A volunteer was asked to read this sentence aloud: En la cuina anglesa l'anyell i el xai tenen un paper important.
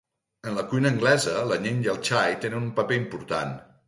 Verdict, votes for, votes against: rejected, 0, 2